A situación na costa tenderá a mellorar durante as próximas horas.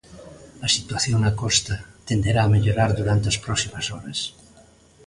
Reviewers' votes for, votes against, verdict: 2, 0, accepted